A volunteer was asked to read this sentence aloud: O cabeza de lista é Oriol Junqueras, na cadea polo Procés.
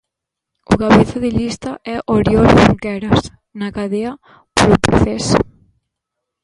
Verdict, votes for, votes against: rejected, 1, 2